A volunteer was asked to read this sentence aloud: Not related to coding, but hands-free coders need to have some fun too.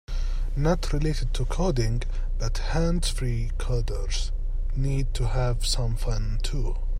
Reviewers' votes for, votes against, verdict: 2, 0, accepted